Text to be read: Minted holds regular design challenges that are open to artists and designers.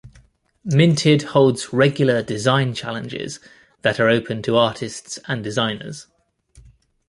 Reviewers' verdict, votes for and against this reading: accepted, 2, 0